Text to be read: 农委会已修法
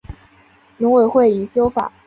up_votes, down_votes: 3, 0